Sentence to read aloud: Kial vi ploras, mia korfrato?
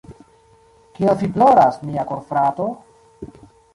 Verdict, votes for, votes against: rejected, 1, 2